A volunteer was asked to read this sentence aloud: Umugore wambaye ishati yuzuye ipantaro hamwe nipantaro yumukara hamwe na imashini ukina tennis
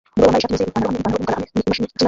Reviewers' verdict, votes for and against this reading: rejected, 0, 2